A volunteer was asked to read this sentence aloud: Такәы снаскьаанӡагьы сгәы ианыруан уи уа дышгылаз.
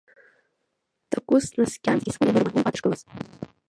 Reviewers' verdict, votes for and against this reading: rejected, 1, 2